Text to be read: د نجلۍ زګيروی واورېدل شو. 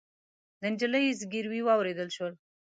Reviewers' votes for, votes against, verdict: 1, 2, rejected